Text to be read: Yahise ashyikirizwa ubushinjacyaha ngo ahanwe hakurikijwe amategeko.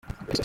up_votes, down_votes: 0, 2